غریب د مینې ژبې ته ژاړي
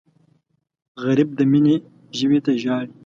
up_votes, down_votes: 2, 0